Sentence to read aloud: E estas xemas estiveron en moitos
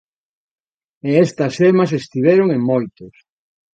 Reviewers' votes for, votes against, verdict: 2, 0, accepted